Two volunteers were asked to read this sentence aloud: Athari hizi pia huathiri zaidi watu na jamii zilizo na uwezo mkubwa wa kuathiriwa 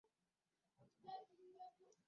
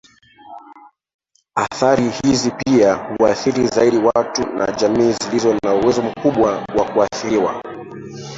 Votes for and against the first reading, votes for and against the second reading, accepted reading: 0, 2, 2, 0, second